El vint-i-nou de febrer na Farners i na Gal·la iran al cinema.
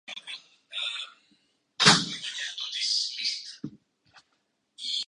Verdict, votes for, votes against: rejected, 0, 2